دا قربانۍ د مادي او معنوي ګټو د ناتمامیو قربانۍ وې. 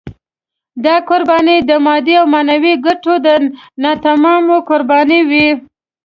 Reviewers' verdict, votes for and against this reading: rejected, 1, 2